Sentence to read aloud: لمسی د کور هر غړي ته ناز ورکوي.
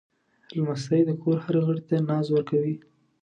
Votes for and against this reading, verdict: 2, 0, accepted